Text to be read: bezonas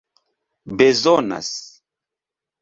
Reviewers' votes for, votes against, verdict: 2, 0, accepted